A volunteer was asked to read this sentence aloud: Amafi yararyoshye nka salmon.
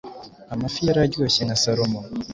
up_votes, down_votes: 2, 0